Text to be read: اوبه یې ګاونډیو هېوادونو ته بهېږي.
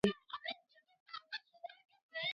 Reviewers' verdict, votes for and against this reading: rejected, 1, 2